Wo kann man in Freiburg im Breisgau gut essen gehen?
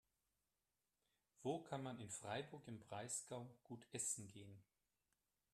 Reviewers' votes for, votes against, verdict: 3, 1, accepted